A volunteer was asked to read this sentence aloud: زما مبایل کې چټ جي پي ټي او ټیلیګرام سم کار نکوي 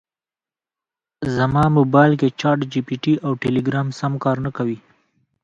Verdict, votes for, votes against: accepted, 3, 2